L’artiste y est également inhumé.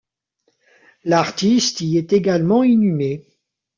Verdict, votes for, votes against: rejected, 1, 2